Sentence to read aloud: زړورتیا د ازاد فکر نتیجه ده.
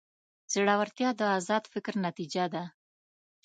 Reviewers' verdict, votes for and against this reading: accepted, 2, 0